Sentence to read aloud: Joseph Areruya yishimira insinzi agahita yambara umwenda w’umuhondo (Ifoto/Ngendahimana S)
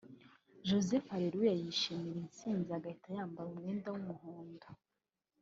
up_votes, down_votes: 0, 2